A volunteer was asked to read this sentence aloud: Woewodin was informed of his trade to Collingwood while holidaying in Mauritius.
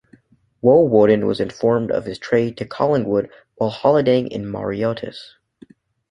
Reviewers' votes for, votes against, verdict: 0, 2, rejected